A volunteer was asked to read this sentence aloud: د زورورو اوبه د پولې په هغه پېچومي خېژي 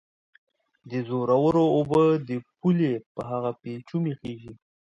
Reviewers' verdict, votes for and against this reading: accepted, 2, 0